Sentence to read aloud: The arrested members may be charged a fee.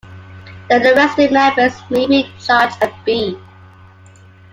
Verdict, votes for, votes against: accepted, 2, 1